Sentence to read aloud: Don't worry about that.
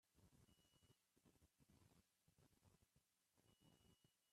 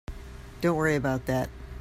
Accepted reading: second